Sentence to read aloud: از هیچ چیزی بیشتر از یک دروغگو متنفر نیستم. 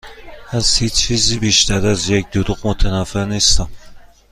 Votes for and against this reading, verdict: 1, 2, rejected